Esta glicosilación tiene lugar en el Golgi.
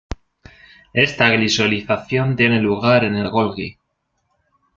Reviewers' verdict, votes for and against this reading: rejected, 1, 2